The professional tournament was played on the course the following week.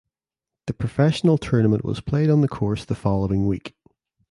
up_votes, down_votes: 2, 0